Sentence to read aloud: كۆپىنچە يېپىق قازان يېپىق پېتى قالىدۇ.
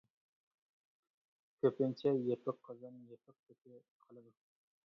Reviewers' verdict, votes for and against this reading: rejected, 1, 2